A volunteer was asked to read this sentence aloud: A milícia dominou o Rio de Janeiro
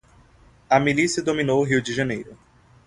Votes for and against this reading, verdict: 3, 0, accepted